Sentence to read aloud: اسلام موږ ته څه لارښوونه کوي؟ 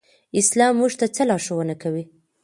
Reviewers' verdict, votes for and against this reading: accepted, 2, 0